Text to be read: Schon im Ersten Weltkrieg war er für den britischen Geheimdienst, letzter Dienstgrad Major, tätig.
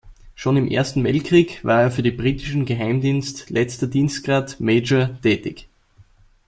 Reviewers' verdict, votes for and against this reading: rejected, 1, 2